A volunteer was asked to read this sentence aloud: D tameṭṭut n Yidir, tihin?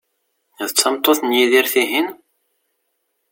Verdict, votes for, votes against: accepted, 2, 0